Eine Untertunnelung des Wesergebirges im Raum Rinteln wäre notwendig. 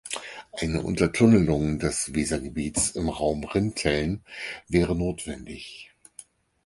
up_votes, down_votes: 0, 4